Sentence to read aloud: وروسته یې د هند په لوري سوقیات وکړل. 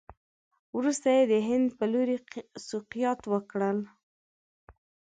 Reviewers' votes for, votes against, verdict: 1, 2, rejected